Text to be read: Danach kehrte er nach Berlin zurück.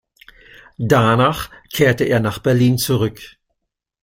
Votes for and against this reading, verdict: 2, 0, accepted